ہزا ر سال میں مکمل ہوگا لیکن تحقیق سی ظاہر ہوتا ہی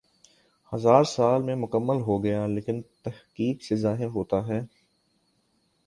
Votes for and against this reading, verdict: 4, 0, accepted